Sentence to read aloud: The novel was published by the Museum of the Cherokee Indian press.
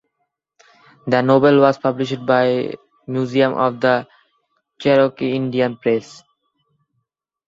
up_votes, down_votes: 0, 2